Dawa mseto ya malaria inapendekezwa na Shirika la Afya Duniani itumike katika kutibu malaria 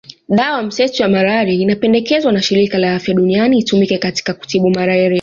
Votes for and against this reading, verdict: 2, 0, accepted